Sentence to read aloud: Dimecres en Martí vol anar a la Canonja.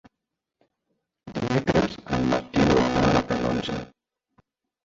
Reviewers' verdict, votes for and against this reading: rejected, 0, 2